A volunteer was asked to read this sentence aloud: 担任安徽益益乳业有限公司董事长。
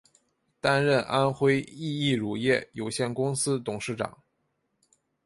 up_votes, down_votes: 2, 0